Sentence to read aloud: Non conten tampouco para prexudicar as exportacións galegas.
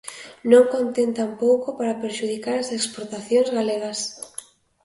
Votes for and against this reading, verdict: 1, 2, rejected